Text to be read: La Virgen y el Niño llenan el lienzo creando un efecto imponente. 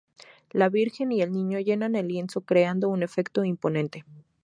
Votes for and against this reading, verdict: 4, 0, accepted